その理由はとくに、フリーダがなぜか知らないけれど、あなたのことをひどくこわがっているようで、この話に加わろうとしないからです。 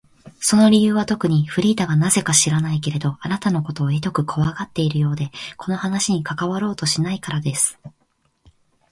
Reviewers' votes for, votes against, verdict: 3, 2, accepted